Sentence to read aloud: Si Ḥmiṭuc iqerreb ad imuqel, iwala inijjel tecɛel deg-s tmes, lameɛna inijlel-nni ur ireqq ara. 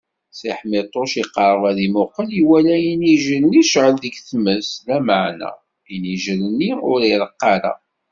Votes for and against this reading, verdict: 1, 2, rejected